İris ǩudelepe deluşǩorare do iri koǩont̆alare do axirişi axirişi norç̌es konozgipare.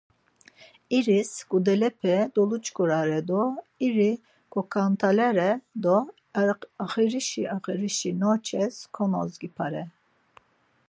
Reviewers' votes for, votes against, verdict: 2, 4, rejected